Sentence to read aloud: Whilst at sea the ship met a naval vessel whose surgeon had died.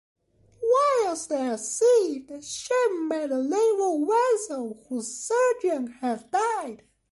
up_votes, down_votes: 0, 2